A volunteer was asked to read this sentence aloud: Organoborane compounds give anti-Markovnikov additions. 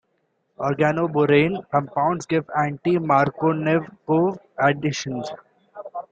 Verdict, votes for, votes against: accepted, 2, 1